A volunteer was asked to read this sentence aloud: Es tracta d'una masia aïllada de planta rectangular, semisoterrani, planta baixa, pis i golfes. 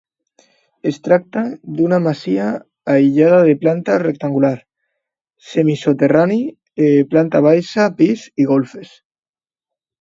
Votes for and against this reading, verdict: 1, 2, rejected